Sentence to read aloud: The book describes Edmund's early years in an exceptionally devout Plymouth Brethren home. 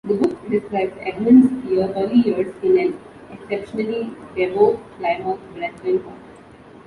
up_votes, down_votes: 1, 2